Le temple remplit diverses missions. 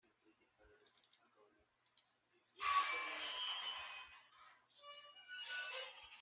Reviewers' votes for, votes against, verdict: 0, 2, rejected